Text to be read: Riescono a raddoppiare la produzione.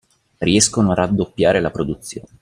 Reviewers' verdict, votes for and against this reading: rejected, 1, 2